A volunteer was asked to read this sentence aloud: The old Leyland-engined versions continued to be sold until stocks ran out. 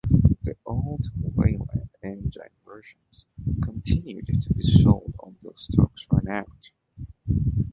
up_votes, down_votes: 0, 2